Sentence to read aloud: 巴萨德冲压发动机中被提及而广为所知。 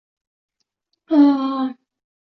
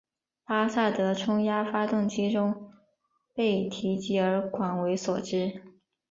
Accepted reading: second